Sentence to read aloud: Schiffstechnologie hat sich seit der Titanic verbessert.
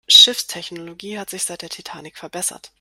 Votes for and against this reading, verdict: 2, 0, accepted